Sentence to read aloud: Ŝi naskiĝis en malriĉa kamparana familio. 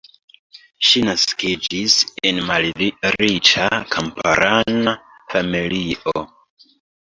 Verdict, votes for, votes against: accepted, 2, 1